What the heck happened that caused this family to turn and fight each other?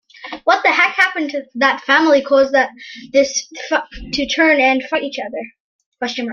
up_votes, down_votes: 0, 2